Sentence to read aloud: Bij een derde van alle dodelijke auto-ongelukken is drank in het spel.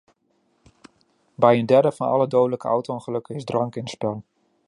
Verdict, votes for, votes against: accepted, 2, 0